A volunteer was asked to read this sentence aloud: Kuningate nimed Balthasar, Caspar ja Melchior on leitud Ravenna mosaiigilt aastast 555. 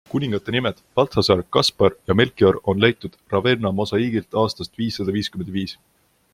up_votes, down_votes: 0, 2